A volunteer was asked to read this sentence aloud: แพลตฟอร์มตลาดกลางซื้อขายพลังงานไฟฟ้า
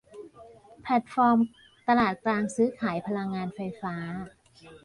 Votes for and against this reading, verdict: 0, 2, rejected